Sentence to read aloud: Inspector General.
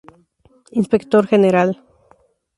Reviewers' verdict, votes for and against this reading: accepted, 2, 0